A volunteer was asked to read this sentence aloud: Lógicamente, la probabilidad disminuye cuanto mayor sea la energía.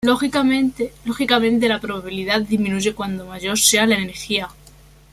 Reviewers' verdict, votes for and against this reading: rejected, 1, 2